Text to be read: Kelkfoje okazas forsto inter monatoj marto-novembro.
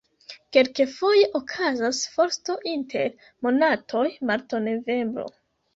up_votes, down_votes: 1, 2